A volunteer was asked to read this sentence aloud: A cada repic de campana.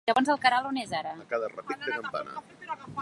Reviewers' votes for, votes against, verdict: 0, 2, rejected